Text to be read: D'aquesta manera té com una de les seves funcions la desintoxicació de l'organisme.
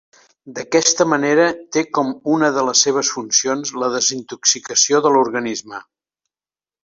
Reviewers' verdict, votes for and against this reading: accepted, 3, 0